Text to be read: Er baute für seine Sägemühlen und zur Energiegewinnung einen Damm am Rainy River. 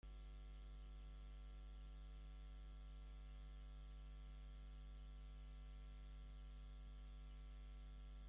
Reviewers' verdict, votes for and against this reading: rejected, 0, 2